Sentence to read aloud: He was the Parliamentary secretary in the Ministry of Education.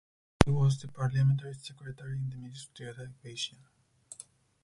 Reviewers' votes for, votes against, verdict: 0, 4, rejected